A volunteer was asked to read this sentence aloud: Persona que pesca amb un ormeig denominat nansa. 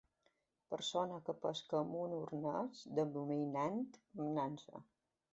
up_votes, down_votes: 0, 2